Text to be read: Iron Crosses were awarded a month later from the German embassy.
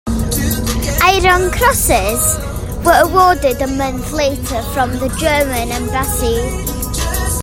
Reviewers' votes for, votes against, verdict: 2, 0, accepted